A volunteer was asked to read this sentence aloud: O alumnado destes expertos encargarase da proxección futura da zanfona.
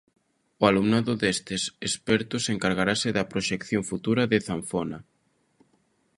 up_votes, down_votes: 0, 2